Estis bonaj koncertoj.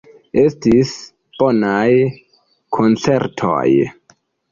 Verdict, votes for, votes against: accepted, 2, 1